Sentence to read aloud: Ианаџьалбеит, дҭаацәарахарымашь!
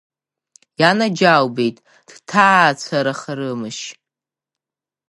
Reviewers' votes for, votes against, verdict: 0, 2, rejected